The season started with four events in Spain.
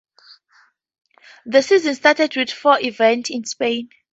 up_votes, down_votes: 6, 2